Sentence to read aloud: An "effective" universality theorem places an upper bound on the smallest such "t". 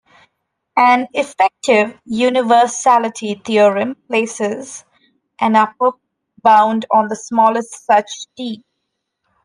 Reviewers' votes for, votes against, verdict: 2, 1, accepted